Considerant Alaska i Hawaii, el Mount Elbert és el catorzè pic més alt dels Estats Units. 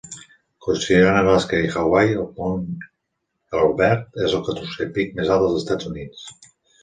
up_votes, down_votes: 0, 2